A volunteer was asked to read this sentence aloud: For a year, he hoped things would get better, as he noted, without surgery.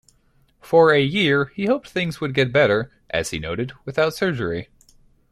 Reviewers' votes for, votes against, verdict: 2, 0, accepted